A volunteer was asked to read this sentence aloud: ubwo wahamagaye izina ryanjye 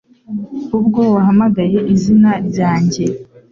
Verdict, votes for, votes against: accepted, 2, 0